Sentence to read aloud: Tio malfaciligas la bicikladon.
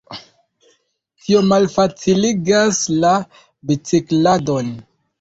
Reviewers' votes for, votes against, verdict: 2, 0, accepted